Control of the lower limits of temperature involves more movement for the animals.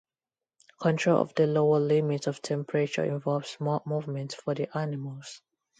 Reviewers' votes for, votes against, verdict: 2, 0, accepted